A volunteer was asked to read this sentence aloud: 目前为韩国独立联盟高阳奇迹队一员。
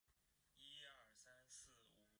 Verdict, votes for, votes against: rejected, 2, 3